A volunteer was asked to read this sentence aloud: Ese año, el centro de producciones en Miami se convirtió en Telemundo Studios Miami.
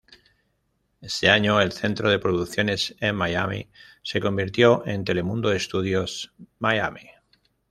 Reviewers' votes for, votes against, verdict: 1, 2, rejected